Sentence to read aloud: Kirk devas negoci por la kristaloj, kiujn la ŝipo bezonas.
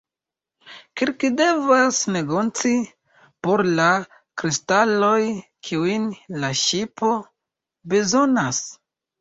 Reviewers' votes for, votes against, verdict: 2, 0, accepted